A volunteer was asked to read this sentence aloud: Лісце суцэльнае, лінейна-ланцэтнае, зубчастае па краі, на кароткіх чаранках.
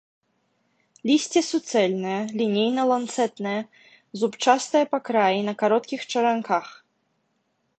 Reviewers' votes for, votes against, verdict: 2, 1, accepted